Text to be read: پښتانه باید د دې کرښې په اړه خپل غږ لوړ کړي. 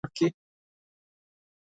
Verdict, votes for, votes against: rejected, 0, 4